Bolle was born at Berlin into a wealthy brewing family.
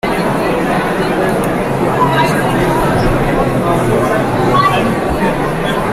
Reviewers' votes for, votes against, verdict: 0, 2, rejected